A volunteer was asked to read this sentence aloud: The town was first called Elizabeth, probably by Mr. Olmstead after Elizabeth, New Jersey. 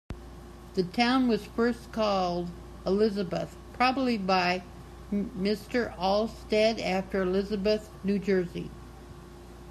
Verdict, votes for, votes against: accepted, 2, 1